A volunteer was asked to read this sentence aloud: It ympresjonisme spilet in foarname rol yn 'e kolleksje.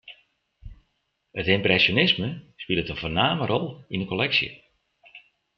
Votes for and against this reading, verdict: 2, 0, accepted